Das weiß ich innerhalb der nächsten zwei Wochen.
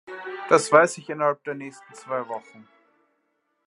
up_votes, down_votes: 2, 0